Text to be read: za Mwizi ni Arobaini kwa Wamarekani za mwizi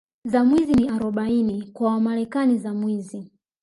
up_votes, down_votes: 1, 2